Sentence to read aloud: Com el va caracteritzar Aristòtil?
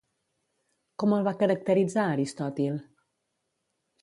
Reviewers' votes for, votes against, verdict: 2, 0, accepted